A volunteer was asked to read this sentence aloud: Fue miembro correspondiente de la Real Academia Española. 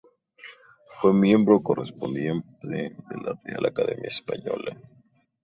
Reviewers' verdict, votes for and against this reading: rejected, 0, 4